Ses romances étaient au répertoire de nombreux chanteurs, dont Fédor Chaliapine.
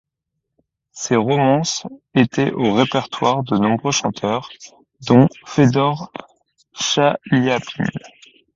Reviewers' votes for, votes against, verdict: 0, 2, rejected